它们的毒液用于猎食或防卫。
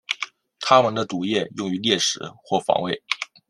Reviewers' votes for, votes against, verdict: 2, 0, accepted